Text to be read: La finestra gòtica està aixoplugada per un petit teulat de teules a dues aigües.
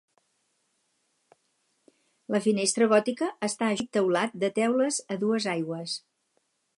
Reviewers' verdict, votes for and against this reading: rejected, 0, 4